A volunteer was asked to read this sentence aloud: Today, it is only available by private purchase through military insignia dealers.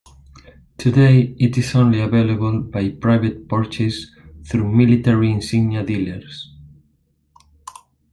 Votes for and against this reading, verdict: 1, 2, rejected